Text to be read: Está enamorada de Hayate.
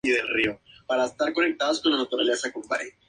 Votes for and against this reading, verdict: 0, 2, rejected